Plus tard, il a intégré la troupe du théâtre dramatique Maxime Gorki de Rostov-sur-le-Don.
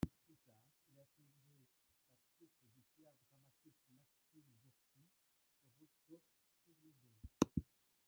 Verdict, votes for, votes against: rejected, 1, 2